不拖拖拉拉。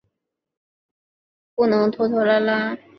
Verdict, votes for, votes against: accepted, 2, 0